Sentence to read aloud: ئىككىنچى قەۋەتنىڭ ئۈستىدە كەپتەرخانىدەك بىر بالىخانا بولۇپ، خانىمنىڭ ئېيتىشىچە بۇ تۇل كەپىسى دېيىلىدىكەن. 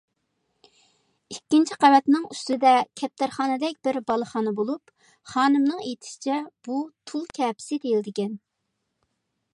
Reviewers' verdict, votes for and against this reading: accepted, 2, 0